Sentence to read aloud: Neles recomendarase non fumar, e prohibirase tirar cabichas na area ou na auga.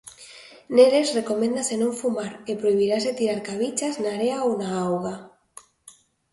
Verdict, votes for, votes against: rejected, 0, 2